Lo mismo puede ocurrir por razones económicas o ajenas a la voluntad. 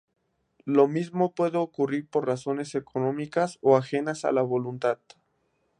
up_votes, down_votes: 2, 0